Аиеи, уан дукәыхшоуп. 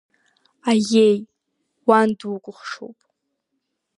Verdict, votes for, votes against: accepted, 2, 0